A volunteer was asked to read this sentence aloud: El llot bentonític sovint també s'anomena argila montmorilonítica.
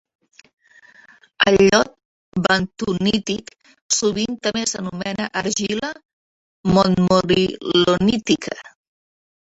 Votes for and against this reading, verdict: 1, 2, rejected